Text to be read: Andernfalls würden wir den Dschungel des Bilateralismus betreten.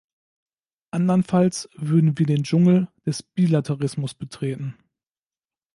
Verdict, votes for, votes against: rejected, 0, 2